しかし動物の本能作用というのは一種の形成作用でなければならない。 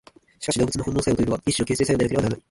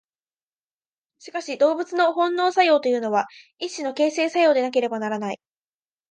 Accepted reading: second